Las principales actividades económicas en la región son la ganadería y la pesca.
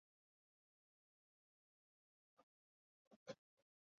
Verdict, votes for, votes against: rejected, 0, 2